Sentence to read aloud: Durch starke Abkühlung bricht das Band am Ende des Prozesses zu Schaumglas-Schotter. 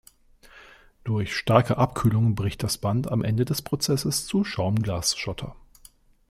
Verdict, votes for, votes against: accepted, 2, 0